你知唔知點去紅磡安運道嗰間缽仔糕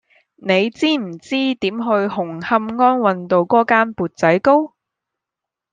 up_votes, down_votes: 2, 0